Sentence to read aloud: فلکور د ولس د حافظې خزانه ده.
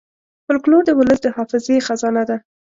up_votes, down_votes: 2, 0